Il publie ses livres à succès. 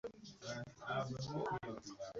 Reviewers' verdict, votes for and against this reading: rejected, 1, 2